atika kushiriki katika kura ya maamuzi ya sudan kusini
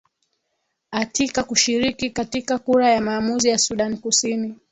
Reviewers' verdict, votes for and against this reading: rejected, 1, 2